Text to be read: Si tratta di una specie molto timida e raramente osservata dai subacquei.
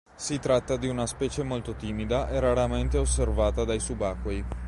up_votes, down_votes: 2, 0